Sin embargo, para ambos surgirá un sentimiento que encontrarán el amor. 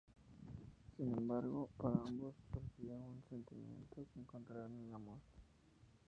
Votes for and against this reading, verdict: 0, 4, rejected